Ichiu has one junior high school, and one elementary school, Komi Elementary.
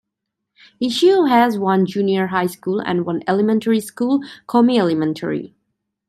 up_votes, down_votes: 2, 0